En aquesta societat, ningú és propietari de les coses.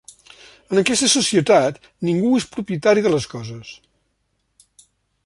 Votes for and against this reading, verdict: 3, 0, accepted